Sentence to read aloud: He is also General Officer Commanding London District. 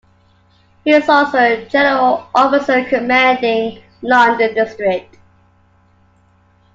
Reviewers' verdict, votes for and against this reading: accepted, 2, 0